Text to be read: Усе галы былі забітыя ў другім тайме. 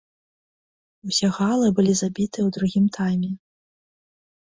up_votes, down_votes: 1, 2